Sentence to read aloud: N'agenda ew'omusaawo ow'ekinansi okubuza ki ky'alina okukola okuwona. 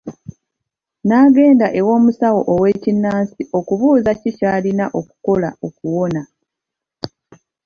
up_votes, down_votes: 1, 2